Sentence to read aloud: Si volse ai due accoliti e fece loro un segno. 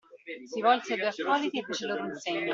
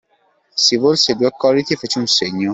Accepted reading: first